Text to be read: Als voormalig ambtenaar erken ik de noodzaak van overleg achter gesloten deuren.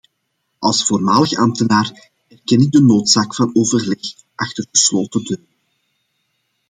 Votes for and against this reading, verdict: 2, 1, accepted